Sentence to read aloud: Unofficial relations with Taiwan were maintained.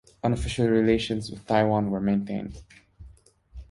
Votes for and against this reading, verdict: 2, 0, accepted